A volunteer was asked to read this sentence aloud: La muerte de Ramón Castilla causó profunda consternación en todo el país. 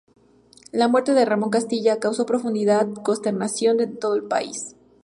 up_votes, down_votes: 2, 0